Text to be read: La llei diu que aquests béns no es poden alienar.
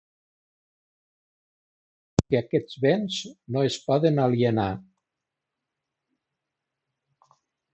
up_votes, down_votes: 0, 2